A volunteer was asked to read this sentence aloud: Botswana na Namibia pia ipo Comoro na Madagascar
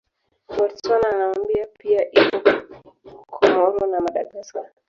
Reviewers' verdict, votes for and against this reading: rejected, 0, 3